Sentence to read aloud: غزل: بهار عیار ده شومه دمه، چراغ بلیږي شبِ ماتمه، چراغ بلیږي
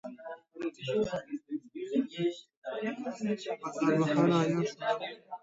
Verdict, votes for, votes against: rejected, 0, 2